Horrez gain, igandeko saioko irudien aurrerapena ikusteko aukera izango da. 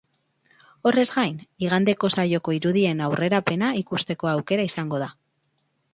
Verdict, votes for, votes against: accepted, 4, 0